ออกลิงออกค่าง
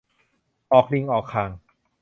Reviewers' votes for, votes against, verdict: 0, 3, rejected